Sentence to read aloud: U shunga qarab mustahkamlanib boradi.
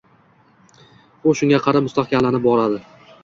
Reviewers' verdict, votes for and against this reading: accepted, 2, 0